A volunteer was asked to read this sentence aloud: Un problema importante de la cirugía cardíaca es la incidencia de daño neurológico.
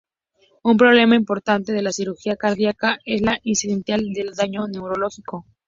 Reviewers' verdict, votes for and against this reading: accepted, 2, 0